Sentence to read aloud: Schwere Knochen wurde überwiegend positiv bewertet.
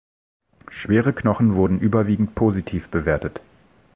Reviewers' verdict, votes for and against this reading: rejected, 1, 2